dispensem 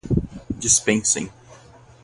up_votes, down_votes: 2, 0